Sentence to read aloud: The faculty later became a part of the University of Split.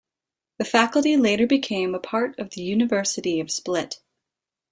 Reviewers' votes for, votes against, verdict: 2, 0, accepted